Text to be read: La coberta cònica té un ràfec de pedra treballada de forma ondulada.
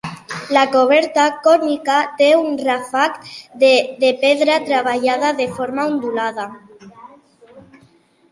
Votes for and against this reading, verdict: 0, 2, rejected